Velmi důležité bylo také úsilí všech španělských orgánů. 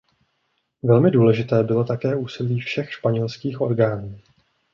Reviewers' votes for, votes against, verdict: 2, 0, accepted